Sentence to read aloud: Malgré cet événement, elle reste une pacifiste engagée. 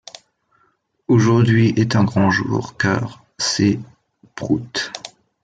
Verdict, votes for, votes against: rejected, 0, 2